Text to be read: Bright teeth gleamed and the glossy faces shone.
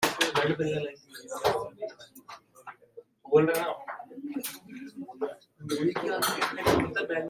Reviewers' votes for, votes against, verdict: 0, 2, rejected